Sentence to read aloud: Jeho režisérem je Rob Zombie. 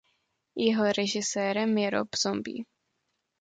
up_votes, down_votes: 2, 0